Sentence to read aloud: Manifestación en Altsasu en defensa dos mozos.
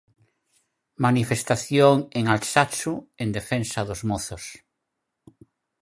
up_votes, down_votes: 2, 4